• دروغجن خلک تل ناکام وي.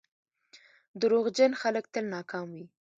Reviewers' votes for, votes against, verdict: 2, 1, accepted